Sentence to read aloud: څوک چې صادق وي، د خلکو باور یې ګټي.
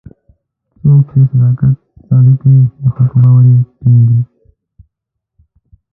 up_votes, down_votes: 0, 2